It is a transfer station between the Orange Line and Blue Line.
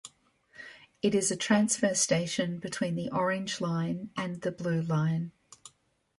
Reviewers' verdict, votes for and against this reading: rejected, 1, 2